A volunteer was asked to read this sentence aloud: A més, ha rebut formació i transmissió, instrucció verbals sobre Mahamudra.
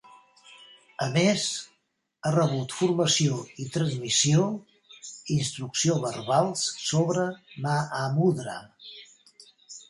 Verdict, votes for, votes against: rejected, 1, 2